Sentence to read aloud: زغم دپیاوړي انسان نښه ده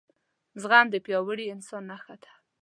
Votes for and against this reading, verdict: 2, 0, accepted